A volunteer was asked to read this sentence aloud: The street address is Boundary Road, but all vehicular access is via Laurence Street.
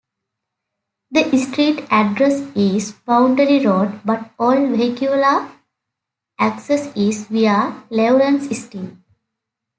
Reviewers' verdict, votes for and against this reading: accepted, 2, 0